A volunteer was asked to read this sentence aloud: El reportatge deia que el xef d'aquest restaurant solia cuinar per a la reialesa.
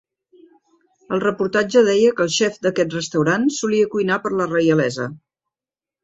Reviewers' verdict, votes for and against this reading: accepted, 2, 1